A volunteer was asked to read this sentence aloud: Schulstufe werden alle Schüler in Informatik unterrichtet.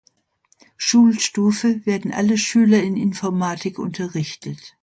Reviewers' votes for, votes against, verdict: 2, 0, accepted